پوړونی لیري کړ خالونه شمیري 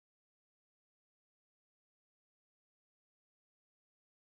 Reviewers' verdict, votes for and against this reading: rejected, 0, 2